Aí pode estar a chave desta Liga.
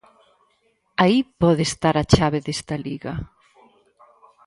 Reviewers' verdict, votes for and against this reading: accepted, 4, 0